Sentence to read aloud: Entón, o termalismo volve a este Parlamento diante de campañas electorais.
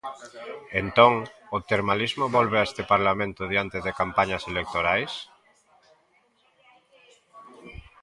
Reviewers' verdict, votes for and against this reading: rejected, 0, 2